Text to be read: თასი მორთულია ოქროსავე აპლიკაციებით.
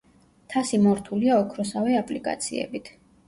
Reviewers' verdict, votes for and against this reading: accepted, 2, 0